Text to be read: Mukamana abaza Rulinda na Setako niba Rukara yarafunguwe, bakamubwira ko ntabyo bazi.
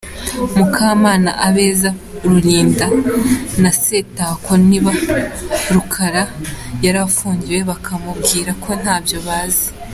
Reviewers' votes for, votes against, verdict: 0, 2, rejected